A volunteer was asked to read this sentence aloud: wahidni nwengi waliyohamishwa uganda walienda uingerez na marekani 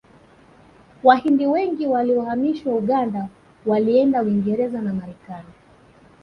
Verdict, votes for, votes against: rejected, 1, 2